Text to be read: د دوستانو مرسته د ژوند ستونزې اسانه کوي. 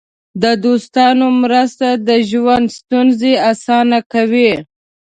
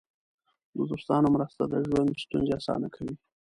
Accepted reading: first